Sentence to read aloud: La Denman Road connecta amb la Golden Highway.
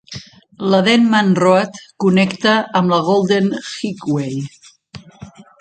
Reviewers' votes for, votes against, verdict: 0, 2, rejected